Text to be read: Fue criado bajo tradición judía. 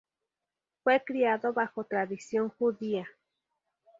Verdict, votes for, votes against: rejected, 0, 2